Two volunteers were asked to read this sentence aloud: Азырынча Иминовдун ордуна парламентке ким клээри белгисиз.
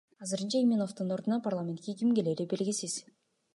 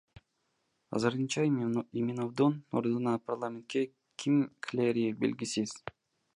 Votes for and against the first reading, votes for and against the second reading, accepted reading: 2, 0, 1, 2, first